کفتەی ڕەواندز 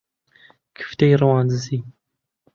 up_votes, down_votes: 1, 2